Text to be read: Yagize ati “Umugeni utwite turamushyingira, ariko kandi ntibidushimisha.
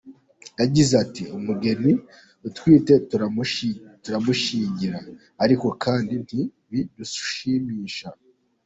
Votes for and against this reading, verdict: 0, 2, rejected